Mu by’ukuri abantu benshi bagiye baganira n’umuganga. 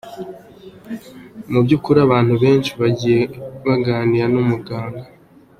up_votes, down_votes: 1, 2